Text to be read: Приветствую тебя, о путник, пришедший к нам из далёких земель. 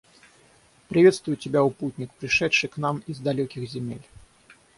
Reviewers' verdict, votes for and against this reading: rejected, 0, 3